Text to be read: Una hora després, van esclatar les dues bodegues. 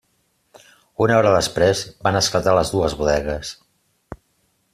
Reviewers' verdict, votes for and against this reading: accepted, 2, 0